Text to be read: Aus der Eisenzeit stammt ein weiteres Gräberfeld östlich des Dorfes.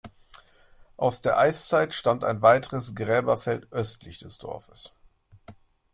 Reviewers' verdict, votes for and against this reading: rejected, 0, 2